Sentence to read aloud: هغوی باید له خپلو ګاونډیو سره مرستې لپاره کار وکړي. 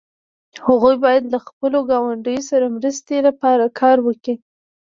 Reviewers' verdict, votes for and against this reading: accepted, 2, 1